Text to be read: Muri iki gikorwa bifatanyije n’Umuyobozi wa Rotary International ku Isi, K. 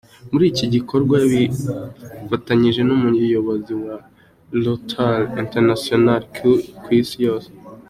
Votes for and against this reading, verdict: 2, 0, accepted